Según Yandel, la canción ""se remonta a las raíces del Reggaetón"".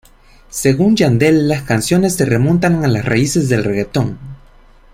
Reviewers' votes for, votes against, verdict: 1, 2, rejected